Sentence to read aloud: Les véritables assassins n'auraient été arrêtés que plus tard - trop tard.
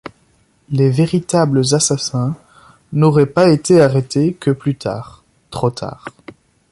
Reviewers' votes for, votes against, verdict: 1, 2, rejected